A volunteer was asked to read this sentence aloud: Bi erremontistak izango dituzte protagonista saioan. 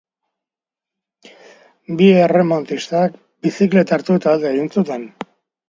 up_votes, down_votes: 0, 2